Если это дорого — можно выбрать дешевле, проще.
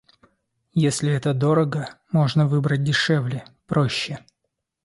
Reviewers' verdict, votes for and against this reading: accepted, 2, 0